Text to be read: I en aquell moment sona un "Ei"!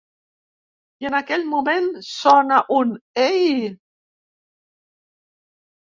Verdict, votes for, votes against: accepted, 2, 0